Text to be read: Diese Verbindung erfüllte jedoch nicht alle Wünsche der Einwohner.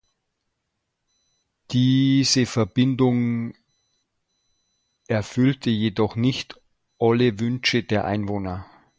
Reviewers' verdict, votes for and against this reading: rejected, 0, 2